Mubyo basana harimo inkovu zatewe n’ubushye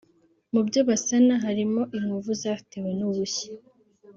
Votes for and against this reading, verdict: 5, 0, accepted